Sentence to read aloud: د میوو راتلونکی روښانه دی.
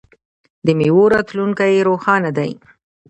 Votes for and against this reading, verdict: 1, 2, rejected